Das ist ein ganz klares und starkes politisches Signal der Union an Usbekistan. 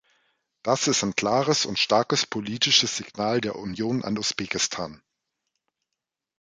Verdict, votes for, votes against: rejected, 0, 2